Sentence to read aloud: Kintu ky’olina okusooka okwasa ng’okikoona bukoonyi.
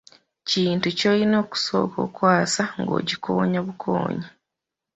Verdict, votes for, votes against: accepted, 2, 1